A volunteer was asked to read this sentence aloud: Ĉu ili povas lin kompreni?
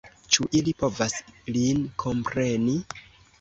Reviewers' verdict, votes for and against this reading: accepted, 2, 0